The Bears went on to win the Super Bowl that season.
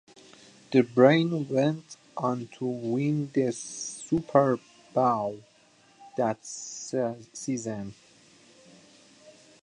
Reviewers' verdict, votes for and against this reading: rejected, 0, 2